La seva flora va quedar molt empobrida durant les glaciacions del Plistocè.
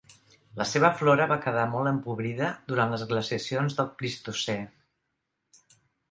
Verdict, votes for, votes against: accepted, 2, 0